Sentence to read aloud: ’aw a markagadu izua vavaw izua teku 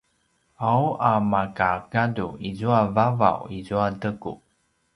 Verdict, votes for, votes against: rejected, 0, 2